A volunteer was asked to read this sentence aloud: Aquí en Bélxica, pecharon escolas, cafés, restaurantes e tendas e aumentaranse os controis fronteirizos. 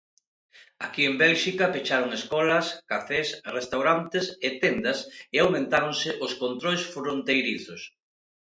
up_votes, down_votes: 1, 2